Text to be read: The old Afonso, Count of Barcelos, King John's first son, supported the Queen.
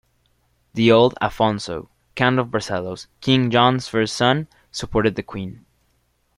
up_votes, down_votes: 2, 0